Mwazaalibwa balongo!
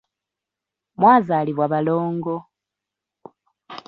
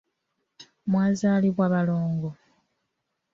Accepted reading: second